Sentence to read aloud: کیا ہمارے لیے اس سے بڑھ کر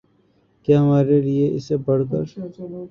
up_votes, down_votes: 1, 2